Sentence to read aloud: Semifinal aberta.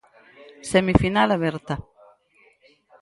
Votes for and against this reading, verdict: 0, 4, rejected